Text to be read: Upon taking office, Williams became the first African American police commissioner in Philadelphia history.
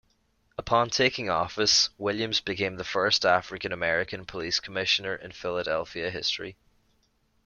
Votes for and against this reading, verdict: 2, 0, accepted